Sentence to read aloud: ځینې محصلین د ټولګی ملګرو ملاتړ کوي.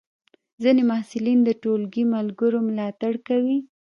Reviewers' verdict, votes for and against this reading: rejected, 1, 2